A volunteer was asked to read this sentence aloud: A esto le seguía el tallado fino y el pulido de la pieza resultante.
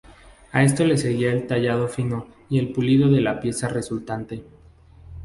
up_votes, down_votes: 2, 0